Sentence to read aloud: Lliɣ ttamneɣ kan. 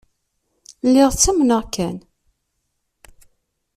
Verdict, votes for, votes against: accepted, 2, 0